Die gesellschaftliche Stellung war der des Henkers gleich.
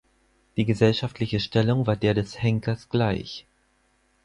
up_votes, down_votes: 4, 0